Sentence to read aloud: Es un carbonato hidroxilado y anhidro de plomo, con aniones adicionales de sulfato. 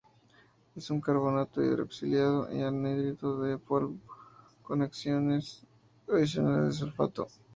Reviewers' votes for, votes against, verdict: 2, 0, accepted